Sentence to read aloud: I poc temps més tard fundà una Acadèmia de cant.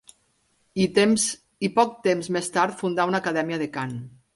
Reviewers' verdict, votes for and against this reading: rejected, 0, 4